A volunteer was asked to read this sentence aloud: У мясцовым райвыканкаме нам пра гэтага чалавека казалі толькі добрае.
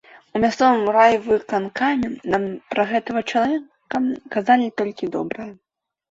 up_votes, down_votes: 1, 3